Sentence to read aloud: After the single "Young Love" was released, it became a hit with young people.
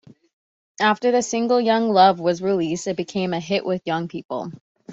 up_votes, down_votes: 3, 0